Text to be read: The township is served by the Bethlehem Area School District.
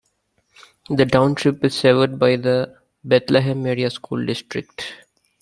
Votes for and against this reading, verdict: 2, 1, accepted